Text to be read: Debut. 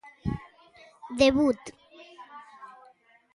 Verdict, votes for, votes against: accepted, 2, 0